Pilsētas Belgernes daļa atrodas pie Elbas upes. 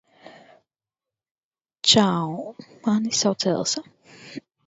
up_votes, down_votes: 0, 4